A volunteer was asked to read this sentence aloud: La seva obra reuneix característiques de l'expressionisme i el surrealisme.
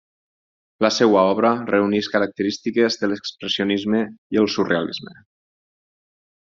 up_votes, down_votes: 2, 4